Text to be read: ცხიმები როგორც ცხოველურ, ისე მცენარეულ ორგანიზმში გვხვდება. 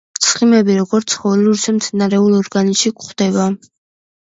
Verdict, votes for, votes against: accepted, 2, 0